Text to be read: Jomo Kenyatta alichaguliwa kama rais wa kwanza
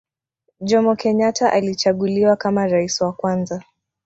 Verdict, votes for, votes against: rejected, 0, 2